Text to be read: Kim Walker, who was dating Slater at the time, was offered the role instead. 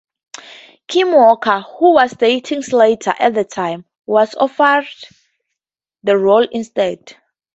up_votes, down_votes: 2, 0